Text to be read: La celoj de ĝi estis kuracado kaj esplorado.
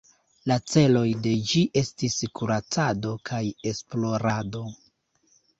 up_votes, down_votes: 3, 1